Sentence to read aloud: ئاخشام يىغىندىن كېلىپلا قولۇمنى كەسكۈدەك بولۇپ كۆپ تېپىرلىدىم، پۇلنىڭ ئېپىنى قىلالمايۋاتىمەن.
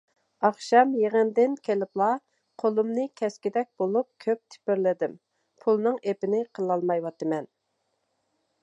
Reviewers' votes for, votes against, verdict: 2, 0, accepted